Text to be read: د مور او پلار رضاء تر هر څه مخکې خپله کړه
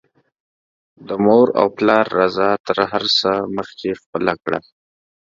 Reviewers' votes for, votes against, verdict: 2, 0, accepted